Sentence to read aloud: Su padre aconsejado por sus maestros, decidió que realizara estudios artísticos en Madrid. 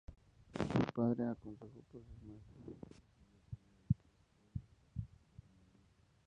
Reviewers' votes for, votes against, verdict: 0, 2, rejected